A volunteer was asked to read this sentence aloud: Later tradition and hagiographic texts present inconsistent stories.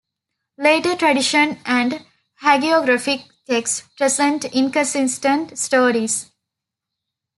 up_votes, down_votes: 2, 0